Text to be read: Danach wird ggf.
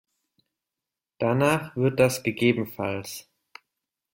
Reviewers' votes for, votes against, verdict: 0, 2, rejected